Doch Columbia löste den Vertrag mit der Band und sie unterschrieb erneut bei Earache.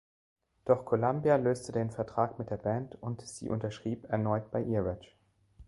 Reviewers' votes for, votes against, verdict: 2, 1, accepted